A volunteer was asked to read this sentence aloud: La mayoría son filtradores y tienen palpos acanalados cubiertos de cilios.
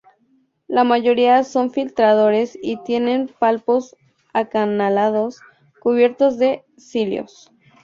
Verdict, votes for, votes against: accepted, 4, 0